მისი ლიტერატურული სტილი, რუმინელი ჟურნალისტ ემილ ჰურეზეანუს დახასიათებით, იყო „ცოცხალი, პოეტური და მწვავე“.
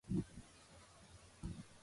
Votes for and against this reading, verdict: 0, 2, rejected